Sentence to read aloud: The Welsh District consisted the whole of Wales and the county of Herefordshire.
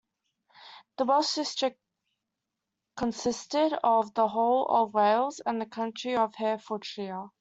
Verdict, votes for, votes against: rejected, 0, 2